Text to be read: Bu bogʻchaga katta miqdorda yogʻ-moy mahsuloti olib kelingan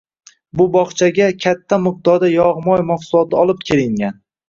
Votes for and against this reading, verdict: 2, 0, accepted